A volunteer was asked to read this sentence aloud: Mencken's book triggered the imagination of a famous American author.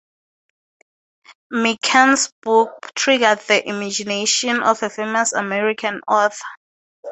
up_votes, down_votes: 2, 0